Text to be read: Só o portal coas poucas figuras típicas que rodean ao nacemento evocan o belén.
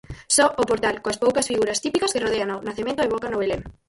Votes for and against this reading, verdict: 0, 4, rejected